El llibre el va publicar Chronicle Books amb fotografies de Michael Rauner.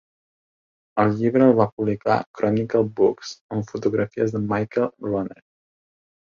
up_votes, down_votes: 2, 0